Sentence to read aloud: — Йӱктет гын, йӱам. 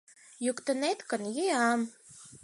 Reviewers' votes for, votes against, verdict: 2, 4, rejected